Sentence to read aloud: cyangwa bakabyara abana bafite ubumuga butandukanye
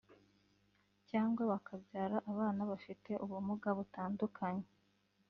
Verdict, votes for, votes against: rejected, 1, 2